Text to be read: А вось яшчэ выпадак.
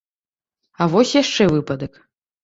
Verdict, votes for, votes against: accepted, 2, 0